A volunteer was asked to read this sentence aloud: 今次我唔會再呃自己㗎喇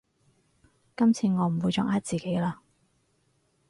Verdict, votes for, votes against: rejected, 0, 4